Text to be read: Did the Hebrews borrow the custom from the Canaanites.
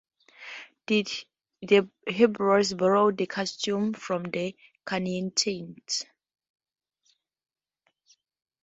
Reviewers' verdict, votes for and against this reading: rejected, 0, 2